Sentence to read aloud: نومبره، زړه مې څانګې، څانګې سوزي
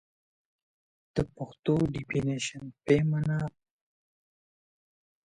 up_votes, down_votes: 0, 2